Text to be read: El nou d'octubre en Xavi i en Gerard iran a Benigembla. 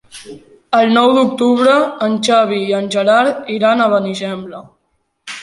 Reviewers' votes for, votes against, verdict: 3, 0, accepted